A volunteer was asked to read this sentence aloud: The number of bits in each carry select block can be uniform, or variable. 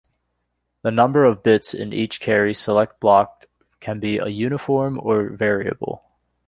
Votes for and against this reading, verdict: 0, 2, rejected